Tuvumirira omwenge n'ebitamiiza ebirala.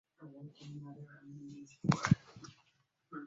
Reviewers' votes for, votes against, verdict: 0, 2, rejected